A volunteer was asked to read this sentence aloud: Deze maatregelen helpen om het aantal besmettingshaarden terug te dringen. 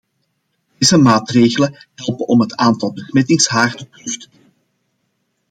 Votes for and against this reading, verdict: 0, 2, rejected